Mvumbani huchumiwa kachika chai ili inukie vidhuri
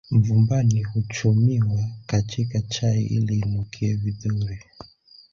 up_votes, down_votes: 2, 1